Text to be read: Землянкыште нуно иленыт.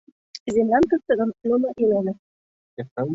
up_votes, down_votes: 0, 2